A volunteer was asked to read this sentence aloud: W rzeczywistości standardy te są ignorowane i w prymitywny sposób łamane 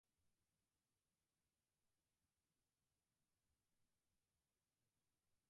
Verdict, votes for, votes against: rejected, 0, 4